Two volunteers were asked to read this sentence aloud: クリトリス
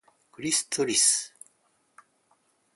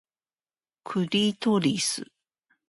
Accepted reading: second